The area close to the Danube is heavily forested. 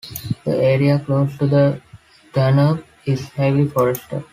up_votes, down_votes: 2, 1